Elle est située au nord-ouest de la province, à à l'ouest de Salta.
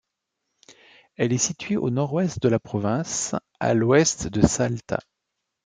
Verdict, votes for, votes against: rejected, 1, 2